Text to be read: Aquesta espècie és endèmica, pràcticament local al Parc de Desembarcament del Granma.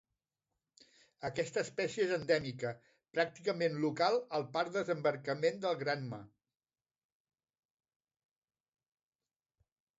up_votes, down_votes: 0, 2